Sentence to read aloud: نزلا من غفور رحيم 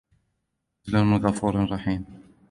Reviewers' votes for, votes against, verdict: 1, 2, rejected